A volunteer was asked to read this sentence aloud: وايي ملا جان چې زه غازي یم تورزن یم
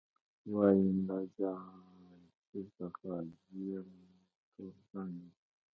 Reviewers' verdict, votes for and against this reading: rejected, 1, 2